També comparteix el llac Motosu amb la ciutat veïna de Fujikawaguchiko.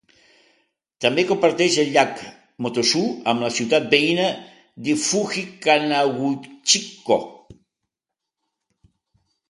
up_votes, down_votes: 2, 3